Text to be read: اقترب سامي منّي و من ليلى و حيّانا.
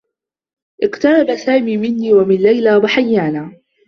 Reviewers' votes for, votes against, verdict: 0, 2, rejected